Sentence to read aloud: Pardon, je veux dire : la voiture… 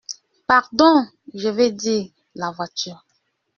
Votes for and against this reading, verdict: 1, 2, rejected